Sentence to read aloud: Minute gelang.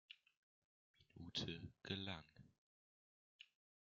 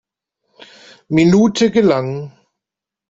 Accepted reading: second